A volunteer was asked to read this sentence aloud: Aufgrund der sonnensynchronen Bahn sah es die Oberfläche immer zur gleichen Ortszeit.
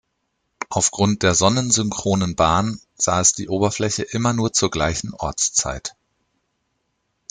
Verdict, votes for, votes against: rejected, 0, 2